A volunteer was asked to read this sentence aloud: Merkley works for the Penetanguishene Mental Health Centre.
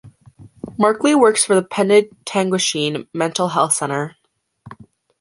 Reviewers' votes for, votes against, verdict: 1, 2, rejected